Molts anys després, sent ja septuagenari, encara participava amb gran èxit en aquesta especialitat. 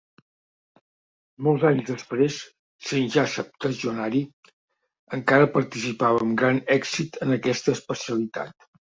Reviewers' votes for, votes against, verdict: 1, 2, rejected